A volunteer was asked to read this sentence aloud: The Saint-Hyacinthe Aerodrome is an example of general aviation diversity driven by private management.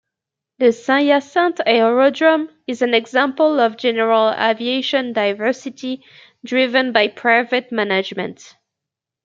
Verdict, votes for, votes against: rejected, 0, 2